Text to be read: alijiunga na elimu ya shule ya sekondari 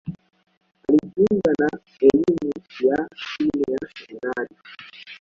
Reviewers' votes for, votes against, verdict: 0, 2, rejected